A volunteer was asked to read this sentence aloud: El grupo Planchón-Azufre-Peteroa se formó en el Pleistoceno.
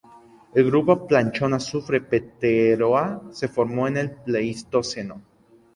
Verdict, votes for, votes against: accepted, 2, 0